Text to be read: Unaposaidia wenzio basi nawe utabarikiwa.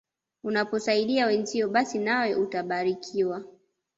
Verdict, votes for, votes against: accepted, 2, 0